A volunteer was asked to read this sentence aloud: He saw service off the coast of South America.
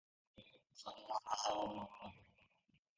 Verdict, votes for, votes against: rejected, 0, 2